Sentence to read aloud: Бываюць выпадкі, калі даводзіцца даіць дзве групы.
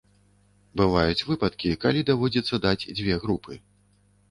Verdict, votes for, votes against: rejected, 1, 2